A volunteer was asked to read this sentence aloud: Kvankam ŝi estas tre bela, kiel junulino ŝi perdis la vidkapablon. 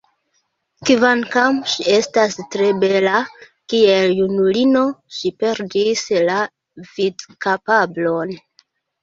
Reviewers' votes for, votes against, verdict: 0, 2, rejected